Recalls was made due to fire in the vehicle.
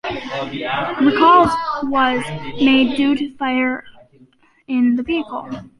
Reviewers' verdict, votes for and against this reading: accepted, 2, 1